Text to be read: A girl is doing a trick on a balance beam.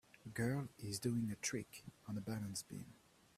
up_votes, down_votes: 1, 2